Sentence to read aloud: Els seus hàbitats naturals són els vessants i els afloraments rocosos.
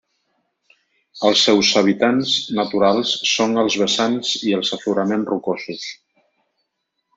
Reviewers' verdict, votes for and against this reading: rejected, 1, 2